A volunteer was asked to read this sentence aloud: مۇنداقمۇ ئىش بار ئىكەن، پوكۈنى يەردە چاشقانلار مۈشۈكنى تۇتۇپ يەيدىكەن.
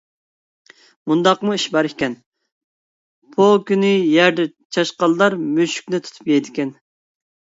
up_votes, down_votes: 0, 2